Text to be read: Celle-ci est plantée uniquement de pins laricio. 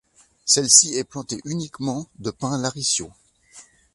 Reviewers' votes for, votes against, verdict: 3, 0, accepted